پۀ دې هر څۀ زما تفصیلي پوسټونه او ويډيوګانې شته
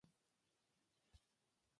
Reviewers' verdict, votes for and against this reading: accepted, 2, 1